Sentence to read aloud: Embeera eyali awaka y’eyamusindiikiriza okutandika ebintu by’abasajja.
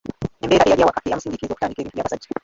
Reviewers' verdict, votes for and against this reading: rejected, 0, 2